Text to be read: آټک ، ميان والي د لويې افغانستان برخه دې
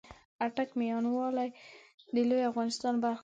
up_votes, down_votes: 2, 1